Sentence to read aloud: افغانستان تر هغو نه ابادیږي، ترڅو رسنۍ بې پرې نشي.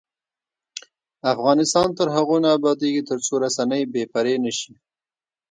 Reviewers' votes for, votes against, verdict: 2, 1, accepted